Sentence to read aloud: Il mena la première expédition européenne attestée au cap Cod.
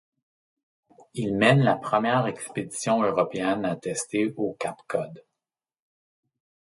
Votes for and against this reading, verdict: 0, 2, rejected